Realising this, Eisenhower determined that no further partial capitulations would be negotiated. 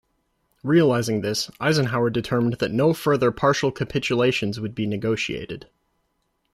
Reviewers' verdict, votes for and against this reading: accepted, 2, 0